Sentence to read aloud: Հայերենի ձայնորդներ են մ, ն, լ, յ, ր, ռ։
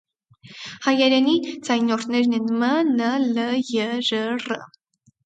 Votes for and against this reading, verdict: 2, 4, rejected